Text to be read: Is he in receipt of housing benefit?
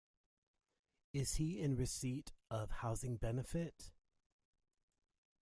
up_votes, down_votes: 2, 1